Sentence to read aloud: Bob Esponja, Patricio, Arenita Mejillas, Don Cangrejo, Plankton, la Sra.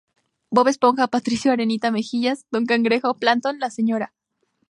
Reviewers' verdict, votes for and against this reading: accepted, 2, 0